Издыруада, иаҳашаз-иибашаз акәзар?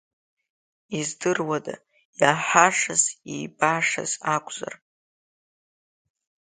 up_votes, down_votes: 2, 1